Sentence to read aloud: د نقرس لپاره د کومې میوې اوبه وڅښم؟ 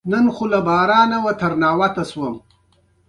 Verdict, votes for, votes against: accepted, 2, 0